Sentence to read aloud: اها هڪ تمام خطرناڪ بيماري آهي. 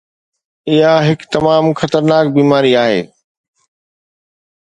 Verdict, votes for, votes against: accepted, 2, 0